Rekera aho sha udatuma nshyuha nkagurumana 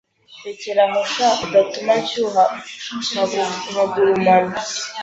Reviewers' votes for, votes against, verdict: 1, 2, rejected